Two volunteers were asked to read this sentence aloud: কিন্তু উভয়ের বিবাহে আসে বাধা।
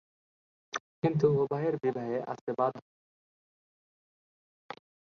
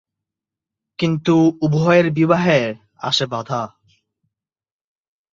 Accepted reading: second